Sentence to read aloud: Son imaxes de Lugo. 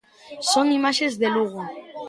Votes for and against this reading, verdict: 2, 0, accepted